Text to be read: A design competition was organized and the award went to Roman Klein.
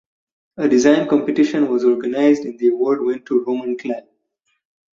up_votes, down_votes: 2, 4